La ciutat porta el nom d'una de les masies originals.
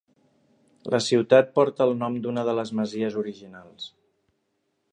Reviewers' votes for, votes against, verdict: 3, 0, accepted